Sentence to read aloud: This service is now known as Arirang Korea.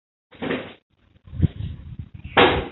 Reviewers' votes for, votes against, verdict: 0, 3, rejected